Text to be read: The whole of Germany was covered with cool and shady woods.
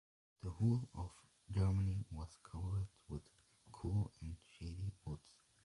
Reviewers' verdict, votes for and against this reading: rejected, 1, 2